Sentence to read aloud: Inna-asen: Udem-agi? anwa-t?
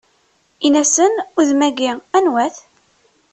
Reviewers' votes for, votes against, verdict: 1, 2, rejected